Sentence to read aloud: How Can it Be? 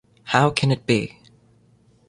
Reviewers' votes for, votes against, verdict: 2, 0, accepted